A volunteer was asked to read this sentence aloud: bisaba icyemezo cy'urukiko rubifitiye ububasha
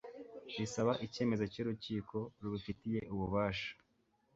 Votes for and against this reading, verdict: 2, 0, accepted